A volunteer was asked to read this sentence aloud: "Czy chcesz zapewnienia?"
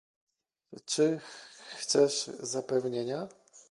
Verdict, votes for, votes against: rejected, 1, 2